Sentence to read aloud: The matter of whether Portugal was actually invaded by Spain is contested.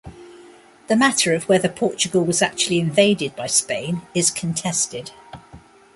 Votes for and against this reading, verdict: 0, 2, rejected